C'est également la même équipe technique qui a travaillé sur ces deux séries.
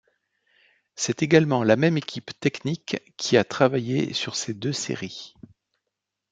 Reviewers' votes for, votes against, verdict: 2, 0, accepted